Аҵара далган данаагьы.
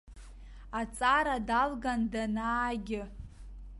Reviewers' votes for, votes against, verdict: 2, 0, accepted